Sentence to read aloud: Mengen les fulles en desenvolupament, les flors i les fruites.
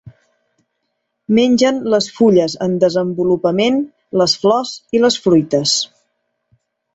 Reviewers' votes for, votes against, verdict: 4, 0, accepted